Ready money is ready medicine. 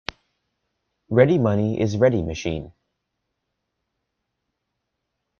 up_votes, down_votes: 0, 2